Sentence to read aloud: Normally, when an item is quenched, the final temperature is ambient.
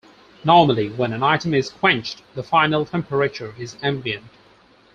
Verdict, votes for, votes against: accepted, 4, 0